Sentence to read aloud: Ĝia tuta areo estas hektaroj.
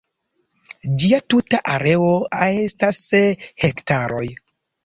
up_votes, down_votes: 0, 2